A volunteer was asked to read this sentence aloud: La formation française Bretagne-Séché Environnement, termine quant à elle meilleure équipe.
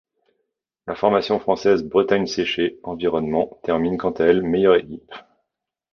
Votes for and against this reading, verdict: 0, 2, rejected